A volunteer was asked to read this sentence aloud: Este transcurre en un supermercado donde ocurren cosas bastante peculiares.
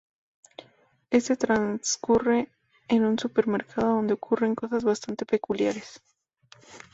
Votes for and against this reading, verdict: 2, 0, accepted